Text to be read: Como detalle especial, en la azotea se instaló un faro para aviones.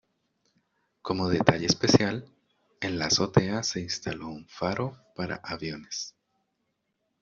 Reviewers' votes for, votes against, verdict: 2, 0, accepted